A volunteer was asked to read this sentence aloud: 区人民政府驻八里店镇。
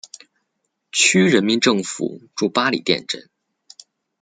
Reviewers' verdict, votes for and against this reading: accepted, 2, 0